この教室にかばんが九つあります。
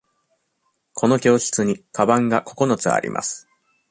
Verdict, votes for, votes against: accepted, 2, 0